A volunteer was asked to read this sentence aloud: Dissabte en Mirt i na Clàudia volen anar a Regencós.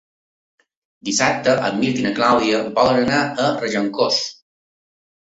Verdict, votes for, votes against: accepted, 3, 0